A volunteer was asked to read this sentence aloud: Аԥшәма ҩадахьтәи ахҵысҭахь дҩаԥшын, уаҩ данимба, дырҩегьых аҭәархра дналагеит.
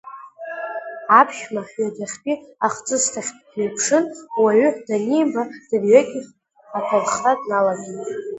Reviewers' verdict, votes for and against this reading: accepted, 2, 1